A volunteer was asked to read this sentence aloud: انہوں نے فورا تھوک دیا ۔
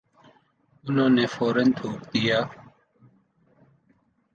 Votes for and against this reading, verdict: 2, 0, accepted